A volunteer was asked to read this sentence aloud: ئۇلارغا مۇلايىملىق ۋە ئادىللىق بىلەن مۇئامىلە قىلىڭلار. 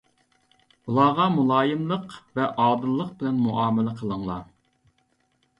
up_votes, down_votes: 2, 0